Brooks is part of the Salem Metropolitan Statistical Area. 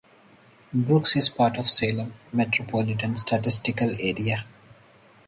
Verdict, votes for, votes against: rejected, 2, 2